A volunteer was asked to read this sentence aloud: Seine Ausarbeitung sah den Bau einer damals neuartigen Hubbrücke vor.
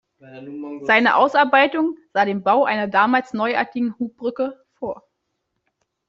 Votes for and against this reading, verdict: 2, 0, accepted